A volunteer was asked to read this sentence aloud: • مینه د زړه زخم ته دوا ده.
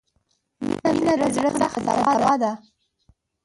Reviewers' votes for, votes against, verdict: 0, 2, rejected